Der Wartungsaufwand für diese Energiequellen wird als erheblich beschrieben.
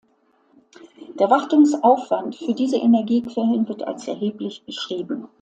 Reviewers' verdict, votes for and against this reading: accepted, 2, 0